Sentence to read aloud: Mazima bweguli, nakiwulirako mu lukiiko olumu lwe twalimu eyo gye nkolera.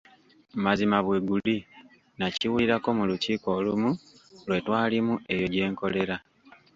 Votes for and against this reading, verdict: 1, 2, rejected